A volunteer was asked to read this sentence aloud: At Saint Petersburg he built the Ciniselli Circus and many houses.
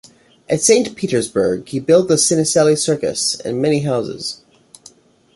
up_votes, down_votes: 2, 0